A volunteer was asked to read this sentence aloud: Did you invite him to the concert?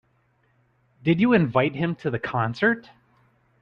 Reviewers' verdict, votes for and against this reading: accepted, 4, 0